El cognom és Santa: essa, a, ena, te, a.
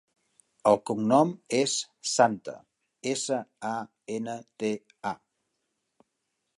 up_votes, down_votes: 3, 0